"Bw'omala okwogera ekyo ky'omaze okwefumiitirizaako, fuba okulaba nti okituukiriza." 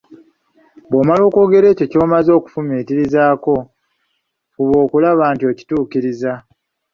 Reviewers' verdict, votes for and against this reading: rejected, 1, 2